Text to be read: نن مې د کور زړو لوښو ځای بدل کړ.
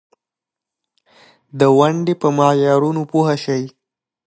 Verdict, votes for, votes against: rejected, 0, 2